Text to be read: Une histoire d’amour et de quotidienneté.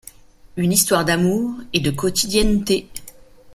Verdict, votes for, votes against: accepted, 2, 0